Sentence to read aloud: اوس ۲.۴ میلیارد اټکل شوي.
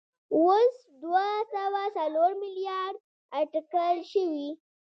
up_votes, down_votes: 0, 2